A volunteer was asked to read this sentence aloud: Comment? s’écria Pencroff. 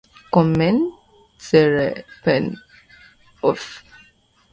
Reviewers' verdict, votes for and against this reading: rejected, 0, 2